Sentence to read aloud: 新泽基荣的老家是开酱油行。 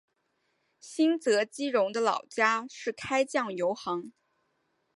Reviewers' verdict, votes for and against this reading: accepted, 2, 0